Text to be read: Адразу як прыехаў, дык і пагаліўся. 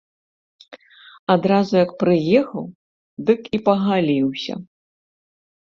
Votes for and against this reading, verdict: 2, 0, accepted